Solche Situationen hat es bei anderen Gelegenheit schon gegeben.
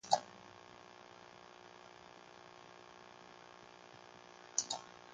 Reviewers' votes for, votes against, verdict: 0, 2, rejected